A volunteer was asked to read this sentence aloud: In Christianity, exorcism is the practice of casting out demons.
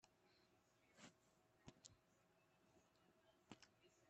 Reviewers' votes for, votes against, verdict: 0, 2, rejected